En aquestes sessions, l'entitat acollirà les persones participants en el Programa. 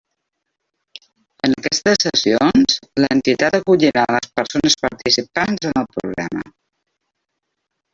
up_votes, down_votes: 0, 2